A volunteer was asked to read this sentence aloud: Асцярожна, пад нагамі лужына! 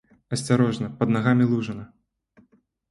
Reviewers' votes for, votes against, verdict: 2, 0, accepted